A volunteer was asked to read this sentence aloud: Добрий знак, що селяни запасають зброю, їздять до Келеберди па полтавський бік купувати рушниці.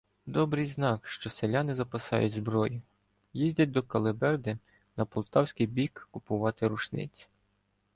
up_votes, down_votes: 2, 0